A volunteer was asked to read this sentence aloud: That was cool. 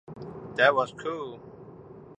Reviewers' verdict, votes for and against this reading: accepted, 2, 0